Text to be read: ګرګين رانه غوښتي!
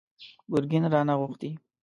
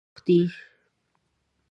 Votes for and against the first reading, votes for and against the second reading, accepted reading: 2, 0, 0, 2, first